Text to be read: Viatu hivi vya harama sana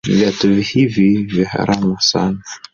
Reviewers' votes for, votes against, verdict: 0, 2, rejected